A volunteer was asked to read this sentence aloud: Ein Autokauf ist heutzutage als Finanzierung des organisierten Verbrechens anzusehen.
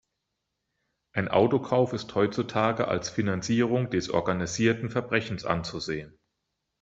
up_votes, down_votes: 2, 0